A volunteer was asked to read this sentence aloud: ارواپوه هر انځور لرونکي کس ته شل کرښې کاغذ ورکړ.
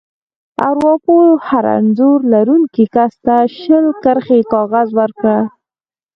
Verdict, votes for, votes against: accepted, 4, 0